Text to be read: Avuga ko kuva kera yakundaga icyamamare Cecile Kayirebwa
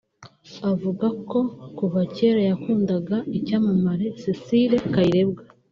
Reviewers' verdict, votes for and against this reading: accepted, 2, 0